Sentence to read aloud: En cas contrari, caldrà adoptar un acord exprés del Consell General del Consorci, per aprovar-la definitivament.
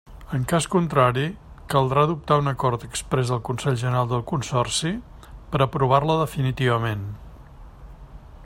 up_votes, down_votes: 3, 0